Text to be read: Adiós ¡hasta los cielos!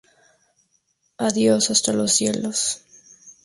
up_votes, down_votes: 2, 0